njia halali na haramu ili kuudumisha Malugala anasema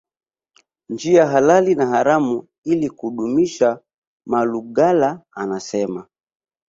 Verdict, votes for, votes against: accepted, 3, 0